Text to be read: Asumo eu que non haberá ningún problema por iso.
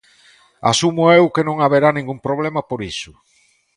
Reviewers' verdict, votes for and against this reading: accepted, 3, 0